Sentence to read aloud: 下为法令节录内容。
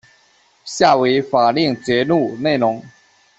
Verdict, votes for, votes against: accepted, 2, 0